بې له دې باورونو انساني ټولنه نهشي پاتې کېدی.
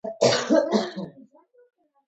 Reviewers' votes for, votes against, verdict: 2, 0, accepted